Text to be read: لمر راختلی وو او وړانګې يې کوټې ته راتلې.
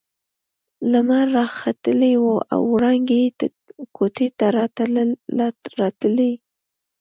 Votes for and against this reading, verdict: 0, 2, rejected